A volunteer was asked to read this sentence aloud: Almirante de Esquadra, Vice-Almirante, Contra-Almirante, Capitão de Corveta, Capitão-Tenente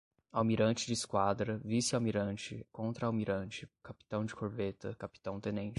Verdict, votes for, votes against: accepted, 5, 0